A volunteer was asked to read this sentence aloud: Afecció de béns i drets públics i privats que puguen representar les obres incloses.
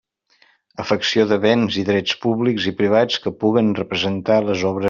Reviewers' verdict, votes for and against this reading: rejected, 0, 2